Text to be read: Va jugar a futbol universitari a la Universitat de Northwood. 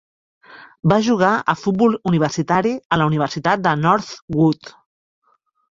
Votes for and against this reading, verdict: 1, 2, rejected